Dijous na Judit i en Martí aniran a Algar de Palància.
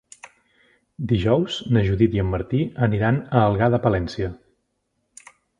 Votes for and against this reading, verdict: 0, 2, rejected